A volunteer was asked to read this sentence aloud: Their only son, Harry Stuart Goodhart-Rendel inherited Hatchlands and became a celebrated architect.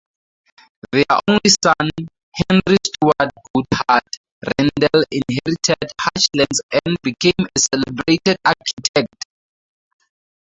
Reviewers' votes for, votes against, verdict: 2, 2, rejected